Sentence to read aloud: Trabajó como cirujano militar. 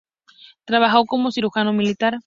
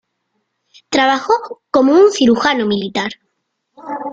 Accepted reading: first